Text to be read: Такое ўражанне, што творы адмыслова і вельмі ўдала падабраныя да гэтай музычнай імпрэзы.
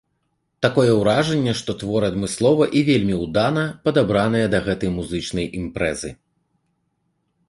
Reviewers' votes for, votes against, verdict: 0, 2, rejected